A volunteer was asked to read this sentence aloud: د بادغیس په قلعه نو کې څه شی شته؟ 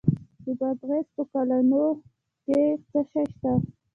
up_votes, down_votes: 2, 0